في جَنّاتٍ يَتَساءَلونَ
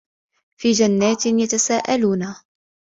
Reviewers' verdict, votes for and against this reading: accepted, 2, 0